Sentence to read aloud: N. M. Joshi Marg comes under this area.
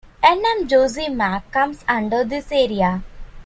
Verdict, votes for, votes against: accepted, 2, 1